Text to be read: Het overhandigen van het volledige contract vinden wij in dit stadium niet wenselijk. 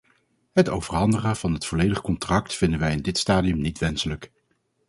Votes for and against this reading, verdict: 4, 0, accepted